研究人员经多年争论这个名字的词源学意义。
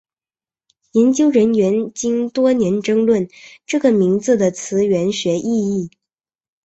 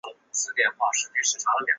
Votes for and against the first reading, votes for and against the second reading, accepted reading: 2, 0, 0, 2, first